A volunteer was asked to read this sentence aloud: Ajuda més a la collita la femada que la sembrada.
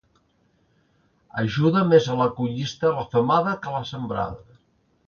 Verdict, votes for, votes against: rejected, 0, 2